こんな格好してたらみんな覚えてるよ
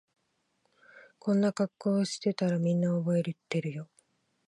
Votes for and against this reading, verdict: 1, 2, rejected